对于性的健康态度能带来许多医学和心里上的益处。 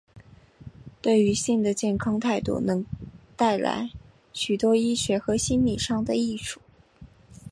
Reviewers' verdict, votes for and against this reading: rejected, 0, 2